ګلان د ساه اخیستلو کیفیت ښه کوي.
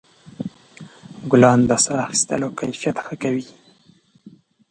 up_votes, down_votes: 2, 0